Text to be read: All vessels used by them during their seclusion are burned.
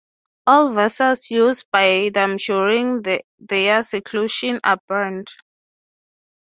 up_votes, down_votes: 3, 0